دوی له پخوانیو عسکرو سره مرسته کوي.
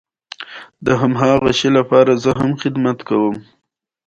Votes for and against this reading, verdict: 2, 1, accepted